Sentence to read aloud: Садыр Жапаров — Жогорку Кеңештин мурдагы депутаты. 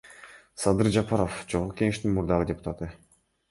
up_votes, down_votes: 2, 1